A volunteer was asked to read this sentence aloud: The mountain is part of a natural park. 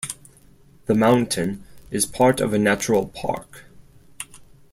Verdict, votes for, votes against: accepted, 8, 0